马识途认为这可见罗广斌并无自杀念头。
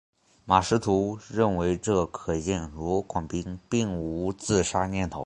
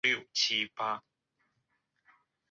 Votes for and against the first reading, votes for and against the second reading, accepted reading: 4, 0, 0, 3, first